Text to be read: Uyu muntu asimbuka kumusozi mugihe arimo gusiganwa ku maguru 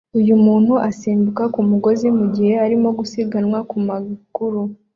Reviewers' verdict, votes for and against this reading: accepted, 2, 0